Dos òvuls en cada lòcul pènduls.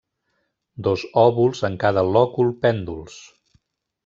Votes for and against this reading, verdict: 3, 0, accepted